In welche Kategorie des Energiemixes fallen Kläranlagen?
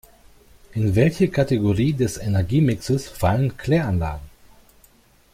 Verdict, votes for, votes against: accepted, 2, 0